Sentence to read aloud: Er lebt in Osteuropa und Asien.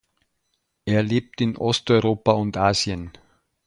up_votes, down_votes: 2, 1